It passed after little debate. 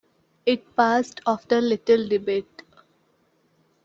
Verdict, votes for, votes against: accepted, 2, 0